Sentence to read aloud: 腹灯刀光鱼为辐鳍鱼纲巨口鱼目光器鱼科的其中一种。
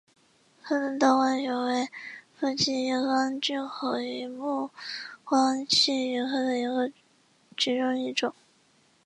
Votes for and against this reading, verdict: 4, 2, accepted